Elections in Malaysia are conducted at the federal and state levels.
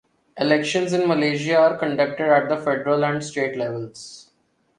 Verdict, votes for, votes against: accepted, 2, 0